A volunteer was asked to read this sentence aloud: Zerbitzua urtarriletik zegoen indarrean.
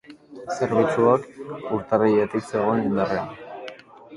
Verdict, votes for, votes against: rejected, 2, 2